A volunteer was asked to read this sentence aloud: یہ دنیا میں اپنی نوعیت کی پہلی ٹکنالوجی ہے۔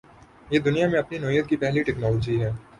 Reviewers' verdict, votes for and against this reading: accepted, 4, 0